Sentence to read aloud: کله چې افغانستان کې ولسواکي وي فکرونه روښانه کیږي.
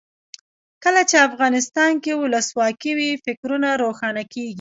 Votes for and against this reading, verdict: 2, 0, accepted